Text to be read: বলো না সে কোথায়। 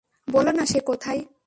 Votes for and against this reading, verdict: 2, 0, accepted